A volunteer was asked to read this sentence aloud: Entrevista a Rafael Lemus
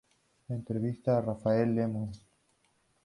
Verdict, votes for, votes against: accepted, 2, 0